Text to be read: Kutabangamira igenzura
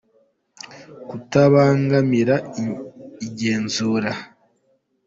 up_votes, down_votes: 2, 1